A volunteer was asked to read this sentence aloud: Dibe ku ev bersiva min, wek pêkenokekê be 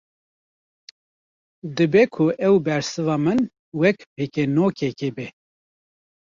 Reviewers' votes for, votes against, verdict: 1, 2, rejected